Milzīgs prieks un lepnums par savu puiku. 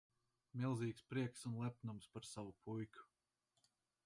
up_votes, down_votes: 4, 0